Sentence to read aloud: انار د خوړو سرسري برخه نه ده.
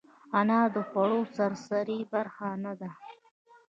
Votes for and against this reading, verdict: 2, 1, accepted